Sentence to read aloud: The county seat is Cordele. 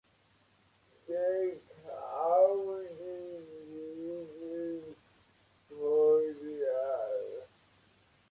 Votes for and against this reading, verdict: 0, 2, rejected